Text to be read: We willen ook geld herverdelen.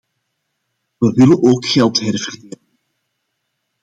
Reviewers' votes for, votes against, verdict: 0, 2, rejected